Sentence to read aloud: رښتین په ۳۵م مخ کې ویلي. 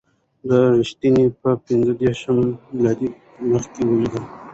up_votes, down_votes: 0, 2